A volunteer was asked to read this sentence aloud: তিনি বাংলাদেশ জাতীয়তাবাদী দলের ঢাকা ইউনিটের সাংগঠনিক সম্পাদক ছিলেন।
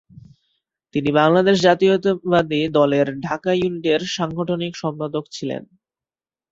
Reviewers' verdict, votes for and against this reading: rejected, 2, 3